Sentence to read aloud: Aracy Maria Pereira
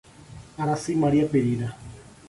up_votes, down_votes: 2, 0